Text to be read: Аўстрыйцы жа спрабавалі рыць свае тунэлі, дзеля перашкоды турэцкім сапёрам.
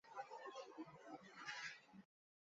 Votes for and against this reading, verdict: 0, 2, rejected